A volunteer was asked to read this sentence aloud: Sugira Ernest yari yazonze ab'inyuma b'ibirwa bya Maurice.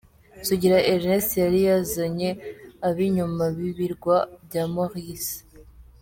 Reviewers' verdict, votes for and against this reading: rejected, 0, 2